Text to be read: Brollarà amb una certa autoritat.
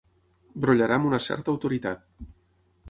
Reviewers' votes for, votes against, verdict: 3, 6, rejected